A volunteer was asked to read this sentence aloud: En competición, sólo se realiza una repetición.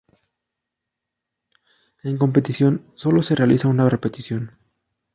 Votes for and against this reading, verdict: 2, 0, accepted